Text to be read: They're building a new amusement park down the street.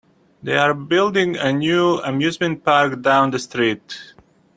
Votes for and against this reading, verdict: 2, 1, accepted